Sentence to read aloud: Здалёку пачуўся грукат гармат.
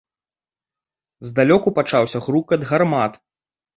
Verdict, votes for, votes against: rejected, 2, 3